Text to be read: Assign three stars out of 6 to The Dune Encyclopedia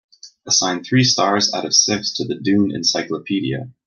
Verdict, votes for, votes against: rejected, 0, 2